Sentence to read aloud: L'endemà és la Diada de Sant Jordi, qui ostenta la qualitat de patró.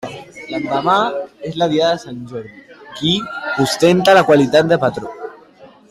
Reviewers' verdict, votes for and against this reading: rejected, 1, 2